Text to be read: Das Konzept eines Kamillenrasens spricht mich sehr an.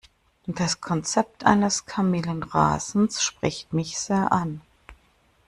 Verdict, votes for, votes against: accepted, 2, 0